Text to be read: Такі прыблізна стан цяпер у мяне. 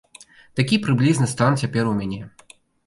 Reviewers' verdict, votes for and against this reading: accepted, 2, 0